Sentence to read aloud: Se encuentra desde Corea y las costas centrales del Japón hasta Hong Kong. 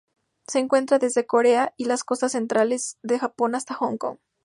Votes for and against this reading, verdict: 4, 0, accepted